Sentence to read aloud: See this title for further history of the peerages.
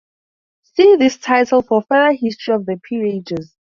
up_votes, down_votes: 0, 2